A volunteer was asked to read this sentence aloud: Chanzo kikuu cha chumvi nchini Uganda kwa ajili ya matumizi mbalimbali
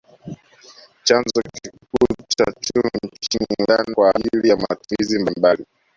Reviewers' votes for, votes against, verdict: 1, 2, rejected